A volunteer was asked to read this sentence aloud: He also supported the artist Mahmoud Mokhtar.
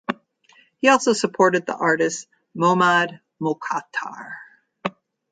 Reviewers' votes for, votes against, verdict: 1, 2, rejected